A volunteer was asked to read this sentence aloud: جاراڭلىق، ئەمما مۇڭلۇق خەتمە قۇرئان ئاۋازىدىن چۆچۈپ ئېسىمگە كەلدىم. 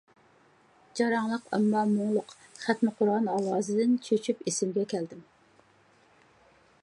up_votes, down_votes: 2, 0